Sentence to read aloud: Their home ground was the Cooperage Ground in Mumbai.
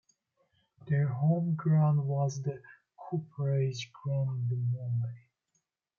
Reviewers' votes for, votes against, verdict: 2, 0, accepted